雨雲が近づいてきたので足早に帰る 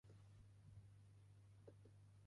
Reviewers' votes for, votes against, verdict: 0, 2, rejected